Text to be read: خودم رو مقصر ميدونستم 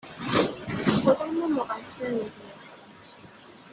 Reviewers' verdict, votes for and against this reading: rejected, 1, 2